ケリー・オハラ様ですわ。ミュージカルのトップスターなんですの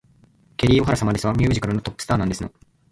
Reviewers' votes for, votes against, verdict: 1, 2, rejected